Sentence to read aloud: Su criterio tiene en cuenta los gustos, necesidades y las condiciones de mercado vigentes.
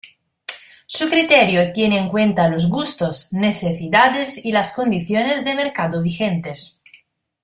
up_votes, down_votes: 1, 2